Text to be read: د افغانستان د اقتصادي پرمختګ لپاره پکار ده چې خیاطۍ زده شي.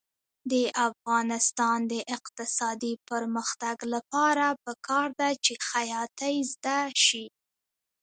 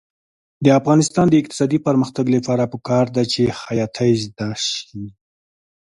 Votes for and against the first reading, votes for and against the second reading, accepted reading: 0, 2, 2, 0, second